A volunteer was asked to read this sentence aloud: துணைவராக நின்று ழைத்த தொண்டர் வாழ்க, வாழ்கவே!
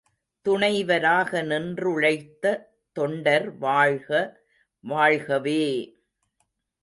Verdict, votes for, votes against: accepted, 2, 0